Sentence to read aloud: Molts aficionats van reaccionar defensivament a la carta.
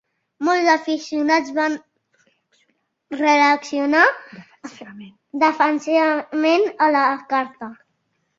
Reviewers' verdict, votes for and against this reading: rejected, 0, 2